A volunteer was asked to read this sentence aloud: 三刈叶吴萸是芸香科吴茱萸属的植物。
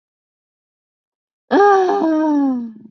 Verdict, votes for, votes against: rejected, 0, 4